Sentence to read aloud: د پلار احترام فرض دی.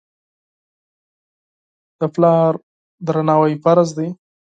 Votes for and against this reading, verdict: 0, 4, rejected